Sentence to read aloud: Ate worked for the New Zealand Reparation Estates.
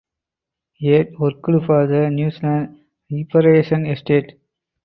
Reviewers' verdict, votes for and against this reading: rejected, 0, 4